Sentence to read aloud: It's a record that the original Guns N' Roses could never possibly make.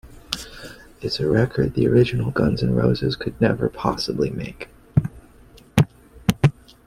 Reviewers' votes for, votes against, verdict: 2, 0, accepted